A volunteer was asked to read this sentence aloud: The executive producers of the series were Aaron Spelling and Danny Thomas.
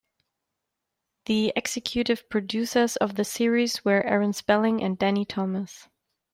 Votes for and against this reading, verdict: 2, 0, accepted